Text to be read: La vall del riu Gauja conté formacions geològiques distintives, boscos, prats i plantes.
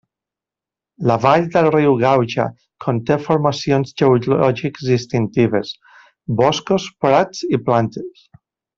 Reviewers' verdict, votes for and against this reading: rejected, 0, 2